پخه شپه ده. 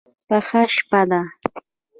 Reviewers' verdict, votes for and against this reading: rejected, 0, 2